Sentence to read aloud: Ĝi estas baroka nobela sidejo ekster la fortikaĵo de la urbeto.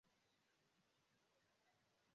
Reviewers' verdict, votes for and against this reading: rejected, 0, 2